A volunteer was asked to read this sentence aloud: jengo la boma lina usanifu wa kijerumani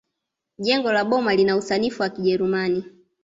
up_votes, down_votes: 2, 0